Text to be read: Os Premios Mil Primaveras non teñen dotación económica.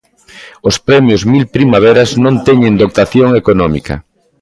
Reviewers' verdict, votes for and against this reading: rejected, 1, 2